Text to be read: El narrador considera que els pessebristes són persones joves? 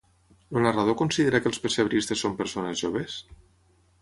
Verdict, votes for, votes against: rejected, 3, 6